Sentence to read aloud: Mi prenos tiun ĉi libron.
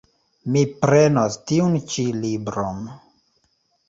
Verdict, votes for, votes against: accepted, 2, 0